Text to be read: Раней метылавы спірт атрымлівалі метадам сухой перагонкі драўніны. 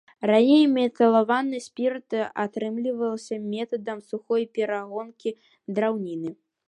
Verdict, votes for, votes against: rejected, 0, 2